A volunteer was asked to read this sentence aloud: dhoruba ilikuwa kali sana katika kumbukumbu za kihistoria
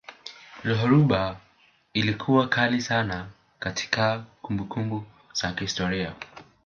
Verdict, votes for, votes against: rejected, 2, 3